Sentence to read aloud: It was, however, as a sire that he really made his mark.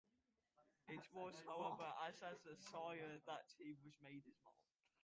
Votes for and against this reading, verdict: 0, 2, rejected